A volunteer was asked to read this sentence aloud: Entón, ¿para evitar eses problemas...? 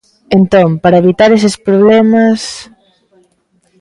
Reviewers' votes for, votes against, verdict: 2, 0, accepted